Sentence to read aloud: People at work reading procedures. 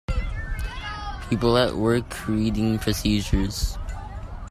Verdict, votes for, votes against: accepted, 3, 0